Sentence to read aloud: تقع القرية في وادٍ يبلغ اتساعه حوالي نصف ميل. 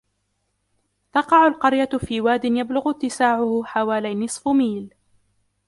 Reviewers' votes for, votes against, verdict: 2, 1, accepted